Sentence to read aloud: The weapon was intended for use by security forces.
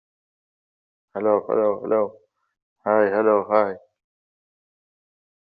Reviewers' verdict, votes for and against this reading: rejected, 0, 2